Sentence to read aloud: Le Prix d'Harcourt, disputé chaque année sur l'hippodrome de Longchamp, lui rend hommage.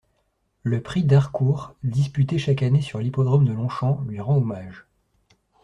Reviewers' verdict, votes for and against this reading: accepted, 2, 0